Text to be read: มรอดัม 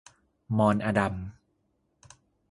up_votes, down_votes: 0, 2